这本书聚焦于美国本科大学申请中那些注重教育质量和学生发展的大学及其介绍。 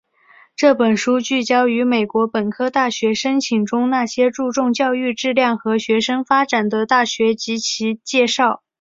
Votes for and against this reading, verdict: 3, 0, accepted